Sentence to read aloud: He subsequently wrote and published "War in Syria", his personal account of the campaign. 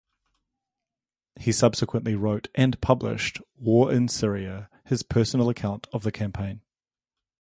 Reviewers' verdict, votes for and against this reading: accepted, 2, 0